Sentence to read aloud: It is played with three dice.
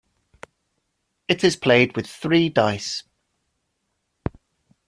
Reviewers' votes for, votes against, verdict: 2, 0, accepted